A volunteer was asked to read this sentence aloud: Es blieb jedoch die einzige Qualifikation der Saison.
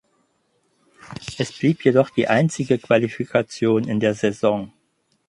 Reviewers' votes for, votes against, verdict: 0, 6, rejected